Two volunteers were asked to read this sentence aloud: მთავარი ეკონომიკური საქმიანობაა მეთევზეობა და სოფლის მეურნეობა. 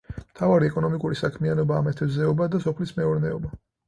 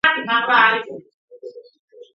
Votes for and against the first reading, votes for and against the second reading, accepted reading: 4, 0, 0, 2, first